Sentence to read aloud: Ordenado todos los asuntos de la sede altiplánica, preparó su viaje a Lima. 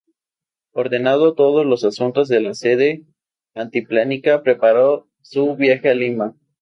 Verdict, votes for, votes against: accepted, 2, 0